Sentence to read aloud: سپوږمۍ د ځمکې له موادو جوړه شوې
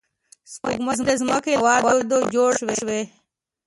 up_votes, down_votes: 0, 2